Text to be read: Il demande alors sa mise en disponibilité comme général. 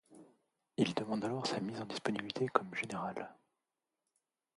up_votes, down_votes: 1, 2